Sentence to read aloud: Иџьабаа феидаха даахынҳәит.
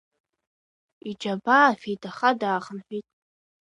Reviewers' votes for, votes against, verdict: 2, 1, accepted